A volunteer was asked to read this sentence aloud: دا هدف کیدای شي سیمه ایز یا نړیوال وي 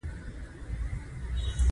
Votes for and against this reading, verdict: 1, 2, rejected